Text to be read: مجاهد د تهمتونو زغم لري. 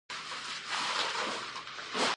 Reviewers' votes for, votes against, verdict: 0, 2, rejected